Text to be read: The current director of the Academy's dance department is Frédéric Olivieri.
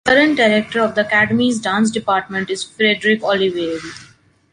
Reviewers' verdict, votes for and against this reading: rejected, 1, 2